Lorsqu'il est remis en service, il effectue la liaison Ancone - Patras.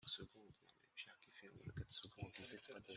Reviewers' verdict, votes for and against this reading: rejected, 0, 2